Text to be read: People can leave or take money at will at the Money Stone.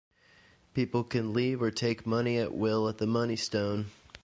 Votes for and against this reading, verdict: 2, 0, accepted